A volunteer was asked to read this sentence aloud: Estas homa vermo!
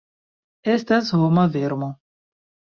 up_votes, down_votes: 2, 0